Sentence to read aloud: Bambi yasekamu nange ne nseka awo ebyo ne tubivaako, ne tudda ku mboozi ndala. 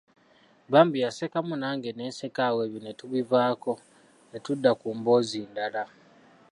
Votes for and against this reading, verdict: 3, 1, accepted